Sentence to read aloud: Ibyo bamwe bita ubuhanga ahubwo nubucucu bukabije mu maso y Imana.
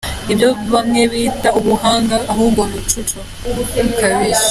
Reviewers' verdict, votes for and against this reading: rejected, 0, 2